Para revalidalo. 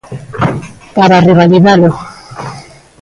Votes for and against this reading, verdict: 2, 1, accepted